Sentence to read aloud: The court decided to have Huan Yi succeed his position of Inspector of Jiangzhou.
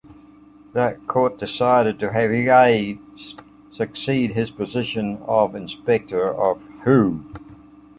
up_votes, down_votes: 0, 2